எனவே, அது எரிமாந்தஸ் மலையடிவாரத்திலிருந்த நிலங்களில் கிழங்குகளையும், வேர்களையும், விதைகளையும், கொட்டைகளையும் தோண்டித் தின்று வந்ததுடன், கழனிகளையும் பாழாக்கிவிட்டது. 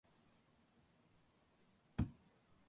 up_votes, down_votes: 0, 2